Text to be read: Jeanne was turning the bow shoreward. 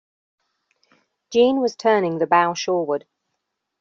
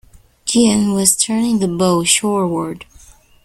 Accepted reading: first